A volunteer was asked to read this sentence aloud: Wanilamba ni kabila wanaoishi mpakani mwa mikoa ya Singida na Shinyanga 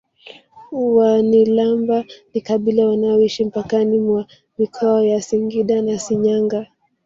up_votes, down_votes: 1, 2